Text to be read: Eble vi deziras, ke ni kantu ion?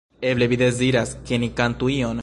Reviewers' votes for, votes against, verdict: 1, 2, rejected